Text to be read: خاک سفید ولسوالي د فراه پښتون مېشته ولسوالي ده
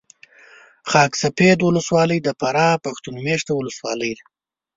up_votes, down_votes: 2, 0